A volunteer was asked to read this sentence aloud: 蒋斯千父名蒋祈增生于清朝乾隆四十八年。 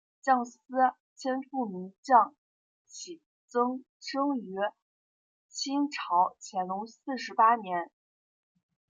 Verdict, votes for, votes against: accepted, 2, 1